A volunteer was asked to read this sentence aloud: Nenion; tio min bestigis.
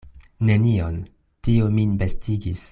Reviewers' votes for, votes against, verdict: 2, 0, accepted